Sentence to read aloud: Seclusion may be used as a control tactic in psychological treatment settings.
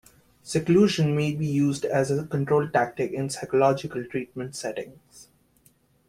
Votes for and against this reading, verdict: 2, 0, accepted